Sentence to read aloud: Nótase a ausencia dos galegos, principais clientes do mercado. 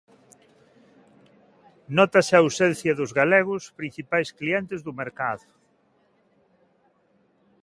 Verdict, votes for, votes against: accepted, 2, 0